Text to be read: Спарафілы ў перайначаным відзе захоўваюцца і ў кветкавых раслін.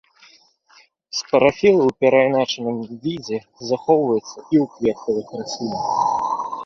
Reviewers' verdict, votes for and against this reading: rejected, 1, 2